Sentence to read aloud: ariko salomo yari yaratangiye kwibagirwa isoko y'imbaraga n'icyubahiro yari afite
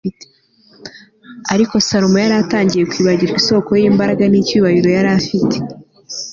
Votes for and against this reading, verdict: 2, 0, accepted